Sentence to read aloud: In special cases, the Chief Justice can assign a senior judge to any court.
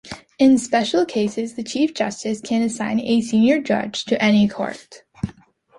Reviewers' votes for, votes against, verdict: 2, 0, accepted